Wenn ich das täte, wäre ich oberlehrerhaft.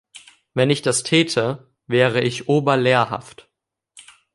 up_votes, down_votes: 0, 2